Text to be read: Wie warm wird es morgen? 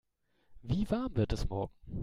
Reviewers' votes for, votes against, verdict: 2, 0, accepted